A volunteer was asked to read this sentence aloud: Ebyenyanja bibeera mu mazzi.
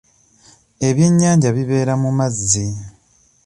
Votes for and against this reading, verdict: 2, 0, accepted